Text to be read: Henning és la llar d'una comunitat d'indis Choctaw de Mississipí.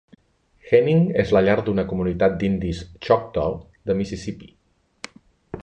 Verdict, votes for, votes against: rejected, 0, 2